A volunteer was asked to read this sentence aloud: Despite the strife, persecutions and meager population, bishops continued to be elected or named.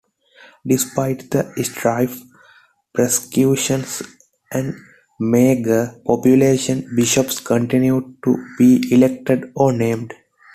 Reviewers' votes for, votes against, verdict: 0, 2, rejected